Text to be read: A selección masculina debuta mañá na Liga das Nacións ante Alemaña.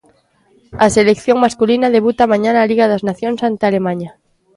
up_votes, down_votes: 2, 0